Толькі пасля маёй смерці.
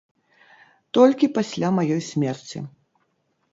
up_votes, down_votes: 4, 0